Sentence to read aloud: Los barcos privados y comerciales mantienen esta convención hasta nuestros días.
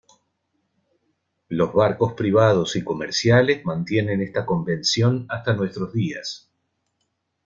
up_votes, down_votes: 2, 0